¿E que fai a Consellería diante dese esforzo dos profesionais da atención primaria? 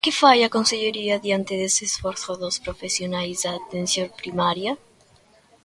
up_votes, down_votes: 2, 0